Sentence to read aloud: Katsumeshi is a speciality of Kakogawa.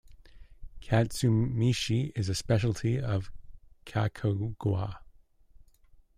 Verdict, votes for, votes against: rejected, 1, 2